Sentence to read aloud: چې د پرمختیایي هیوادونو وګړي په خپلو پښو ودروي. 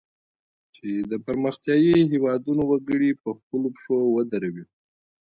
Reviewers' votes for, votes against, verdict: 2, 1, accepted